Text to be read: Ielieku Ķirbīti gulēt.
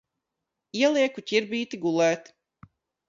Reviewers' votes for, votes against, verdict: 2, 0, accepted